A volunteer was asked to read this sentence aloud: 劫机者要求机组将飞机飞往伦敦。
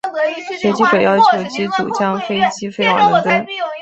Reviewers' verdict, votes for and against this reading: rejected, 0, 2